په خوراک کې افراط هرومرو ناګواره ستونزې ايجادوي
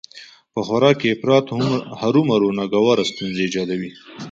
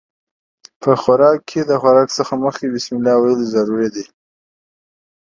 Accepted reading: first